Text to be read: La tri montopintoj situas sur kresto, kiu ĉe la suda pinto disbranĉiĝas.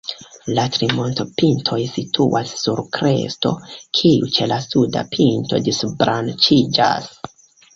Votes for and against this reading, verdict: 1, 2, rejected